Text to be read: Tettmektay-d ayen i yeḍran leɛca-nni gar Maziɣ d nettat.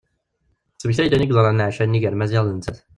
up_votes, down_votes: 0, 2